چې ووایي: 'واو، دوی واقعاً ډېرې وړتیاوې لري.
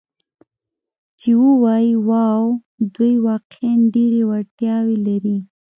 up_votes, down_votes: 3, 0